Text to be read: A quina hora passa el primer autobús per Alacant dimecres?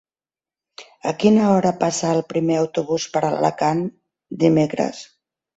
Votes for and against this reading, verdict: 1, 2, rejected